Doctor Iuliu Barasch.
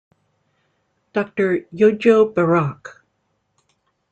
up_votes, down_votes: 1, 2